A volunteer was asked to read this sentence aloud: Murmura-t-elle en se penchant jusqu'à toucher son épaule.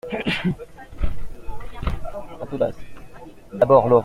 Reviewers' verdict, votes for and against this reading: rejected, 0, 2